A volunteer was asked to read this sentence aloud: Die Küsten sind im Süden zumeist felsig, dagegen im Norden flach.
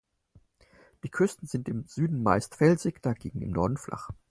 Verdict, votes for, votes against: accepted, 4, 0